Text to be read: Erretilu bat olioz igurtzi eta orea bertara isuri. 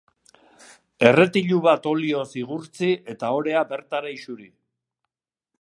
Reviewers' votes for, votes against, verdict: 2, 0, accepted